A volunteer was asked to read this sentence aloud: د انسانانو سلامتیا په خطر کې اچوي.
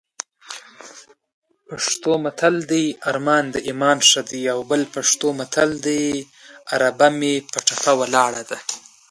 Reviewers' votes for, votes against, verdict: 1, 2, rejected